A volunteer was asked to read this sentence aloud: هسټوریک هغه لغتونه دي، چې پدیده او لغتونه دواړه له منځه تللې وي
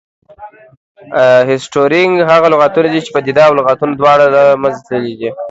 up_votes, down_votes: 0, 2